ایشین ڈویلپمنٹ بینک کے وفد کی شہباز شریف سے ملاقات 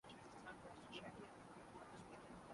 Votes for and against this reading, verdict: 0, 2, rejected